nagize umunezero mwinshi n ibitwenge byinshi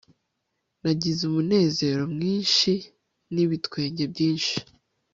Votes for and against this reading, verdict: 2, 0, accepted